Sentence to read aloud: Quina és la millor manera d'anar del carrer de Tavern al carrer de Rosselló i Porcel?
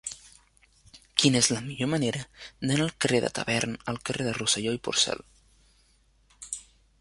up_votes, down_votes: 1, 2